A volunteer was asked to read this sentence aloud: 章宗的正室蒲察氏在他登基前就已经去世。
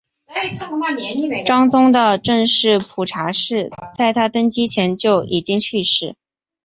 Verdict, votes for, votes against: rejected, 1, 2